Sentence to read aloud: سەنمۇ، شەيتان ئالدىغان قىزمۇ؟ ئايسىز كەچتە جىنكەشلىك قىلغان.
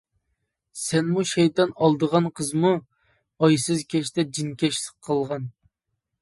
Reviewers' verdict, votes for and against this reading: accepted, 2, 0